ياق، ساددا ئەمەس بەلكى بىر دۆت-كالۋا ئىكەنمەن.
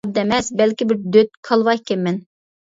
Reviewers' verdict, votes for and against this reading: rejected, 0, 2